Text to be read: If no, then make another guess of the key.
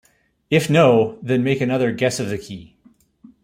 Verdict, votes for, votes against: accepted, 2, 0